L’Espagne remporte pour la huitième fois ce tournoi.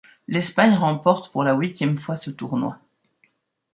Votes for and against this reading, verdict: 0, 2, rejected